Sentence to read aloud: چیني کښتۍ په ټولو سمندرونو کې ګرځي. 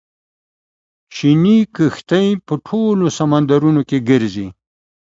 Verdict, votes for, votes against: accepted, 2, 0